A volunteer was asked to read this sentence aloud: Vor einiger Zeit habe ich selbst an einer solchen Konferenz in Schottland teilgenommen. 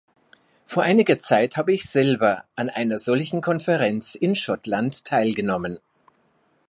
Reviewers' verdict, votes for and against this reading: rejected, 0, 2